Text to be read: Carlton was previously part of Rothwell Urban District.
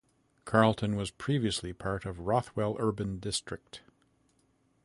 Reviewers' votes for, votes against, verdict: 2, 0, accepted